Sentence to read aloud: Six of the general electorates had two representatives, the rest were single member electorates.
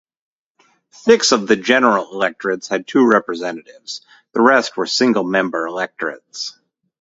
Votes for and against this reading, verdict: 0, 2, rejected